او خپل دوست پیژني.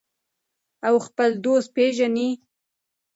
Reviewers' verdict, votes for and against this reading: accepted, 2, 0